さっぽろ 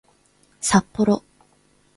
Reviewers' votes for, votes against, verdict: 2, 1, accepted